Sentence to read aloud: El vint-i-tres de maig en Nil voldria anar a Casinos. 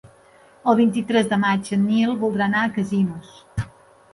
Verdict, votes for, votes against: rejected, 1, 2